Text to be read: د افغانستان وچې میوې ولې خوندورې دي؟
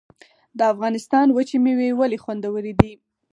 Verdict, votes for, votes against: rejected, 2, 4